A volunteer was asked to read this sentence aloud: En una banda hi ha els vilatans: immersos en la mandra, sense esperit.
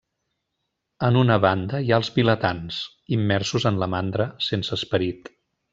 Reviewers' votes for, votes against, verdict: 2, 0, accepted